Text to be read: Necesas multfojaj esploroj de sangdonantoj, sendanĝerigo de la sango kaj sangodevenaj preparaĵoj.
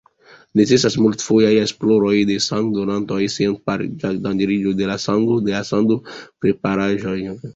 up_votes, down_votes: 0, 2